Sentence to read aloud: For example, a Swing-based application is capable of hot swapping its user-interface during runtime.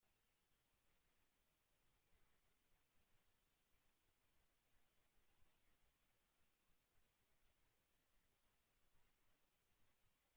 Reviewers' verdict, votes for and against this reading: rejected, 0, 2